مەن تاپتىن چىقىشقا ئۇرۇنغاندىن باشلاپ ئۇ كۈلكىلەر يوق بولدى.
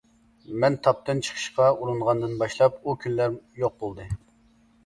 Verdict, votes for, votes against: rejected, 0, 2